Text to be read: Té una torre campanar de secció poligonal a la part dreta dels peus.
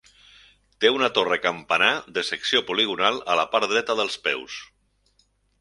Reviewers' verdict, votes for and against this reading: accepted, 4, 0